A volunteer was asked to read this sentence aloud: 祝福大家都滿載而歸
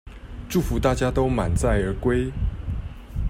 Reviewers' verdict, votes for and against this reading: accepted, 2, 0